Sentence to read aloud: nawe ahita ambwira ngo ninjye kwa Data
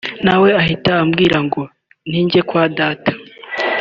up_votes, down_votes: 2, 0